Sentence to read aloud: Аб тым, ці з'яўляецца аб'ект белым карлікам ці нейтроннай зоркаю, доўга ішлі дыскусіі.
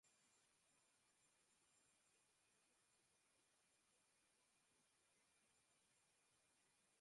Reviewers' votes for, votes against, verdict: 0, 2, rejected